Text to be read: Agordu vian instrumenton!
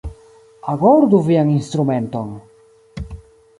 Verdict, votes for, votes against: accepted, 2, 0